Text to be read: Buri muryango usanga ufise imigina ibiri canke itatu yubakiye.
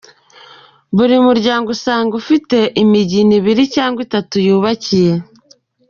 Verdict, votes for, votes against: rejected, 1, 2